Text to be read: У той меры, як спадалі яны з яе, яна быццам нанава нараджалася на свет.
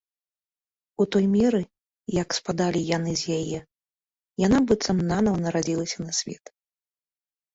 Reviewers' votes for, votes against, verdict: 0, 2, rejected